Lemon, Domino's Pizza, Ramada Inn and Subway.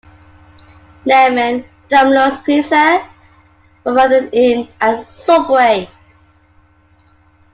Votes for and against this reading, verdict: 2, 0, accepted